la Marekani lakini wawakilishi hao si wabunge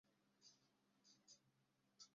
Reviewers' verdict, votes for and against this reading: rejected, 0, 2